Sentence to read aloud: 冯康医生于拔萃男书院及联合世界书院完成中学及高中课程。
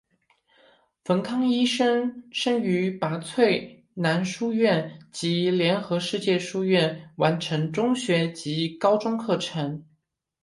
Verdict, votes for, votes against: accepted, 2, 1